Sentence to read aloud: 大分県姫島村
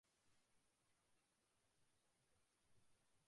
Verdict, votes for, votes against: rejected, 0, 2